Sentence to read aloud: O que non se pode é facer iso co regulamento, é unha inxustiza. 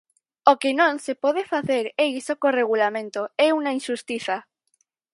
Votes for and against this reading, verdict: 2, 4, rejected